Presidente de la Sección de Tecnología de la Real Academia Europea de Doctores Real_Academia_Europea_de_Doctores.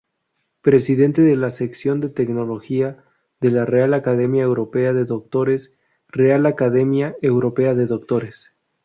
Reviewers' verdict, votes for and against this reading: rejected, 2, 2